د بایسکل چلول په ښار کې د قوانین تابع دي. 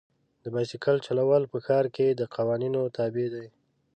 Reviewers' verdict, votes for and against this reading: rejected, 1, 2